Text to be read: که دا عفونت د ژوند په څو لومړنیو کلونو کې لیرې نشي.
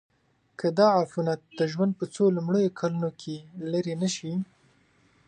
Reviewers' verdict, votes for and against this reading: accepted, 2, 0